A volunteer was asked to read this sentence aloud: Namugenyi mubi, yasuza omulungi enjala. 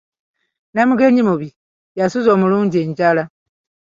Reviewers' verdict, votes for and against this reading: accepted, 2, 0